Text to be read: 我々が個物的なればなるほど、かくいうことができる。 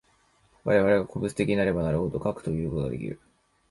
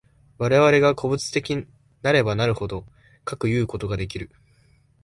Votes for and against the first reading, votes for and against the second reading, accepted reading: 0, 2, 2, 0, second